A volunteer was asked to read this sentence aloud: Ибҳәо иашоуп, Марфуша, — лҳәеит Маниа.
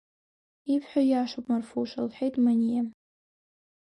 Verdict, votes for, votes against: accepted, 2, 0